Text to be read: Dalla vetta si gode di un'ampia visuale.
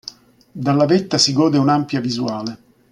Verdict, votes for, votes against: accepted, 2, 0